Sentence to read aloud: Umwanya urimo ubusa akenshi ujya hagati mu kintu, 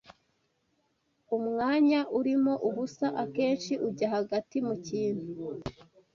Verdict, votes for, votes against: accepted, 2, 0